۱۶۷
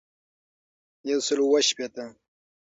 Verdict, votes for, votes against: rejected, 0, 2